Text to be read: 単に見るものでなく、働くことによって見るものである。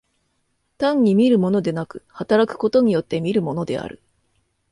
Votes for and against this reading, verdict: 2, 0, accepted